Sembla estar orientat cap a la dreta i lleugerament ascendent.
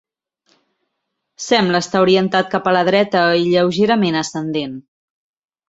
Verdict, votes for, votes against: accepted, 2, 0